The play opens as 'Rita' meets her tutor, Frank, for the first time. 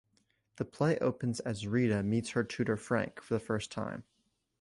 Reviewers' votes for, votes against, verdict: 2, 0, accepted